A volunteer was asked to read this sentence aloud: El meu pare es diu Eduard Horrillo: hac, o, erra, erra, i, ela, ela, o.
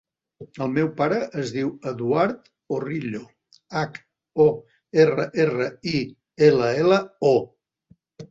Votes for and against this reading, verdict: 3, 0, accepted